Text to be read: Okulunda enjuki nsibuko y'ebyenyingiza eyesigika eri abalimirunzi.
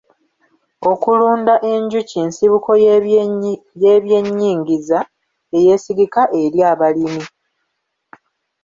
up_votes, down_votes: 0, 2